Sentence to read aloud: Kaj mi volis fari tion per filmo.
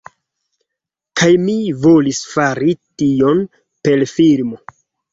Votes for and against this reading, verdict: 1, 2, rejected